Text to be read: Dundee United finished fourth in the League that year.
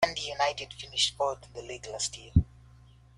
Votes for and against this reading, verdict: 0, 2, rejected